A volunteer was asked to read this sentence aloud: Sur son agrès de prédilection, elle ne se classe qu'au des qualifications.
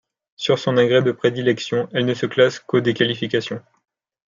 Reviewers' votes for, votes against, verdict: 2, 0, accepted